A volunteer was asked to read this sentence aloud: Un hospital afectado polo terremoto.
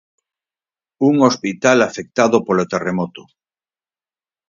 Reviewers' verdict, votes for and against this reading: accepted, 4, 0